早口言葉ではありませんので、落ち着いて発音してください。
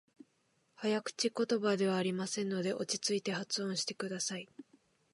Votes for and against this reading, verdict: 2, 0, accepted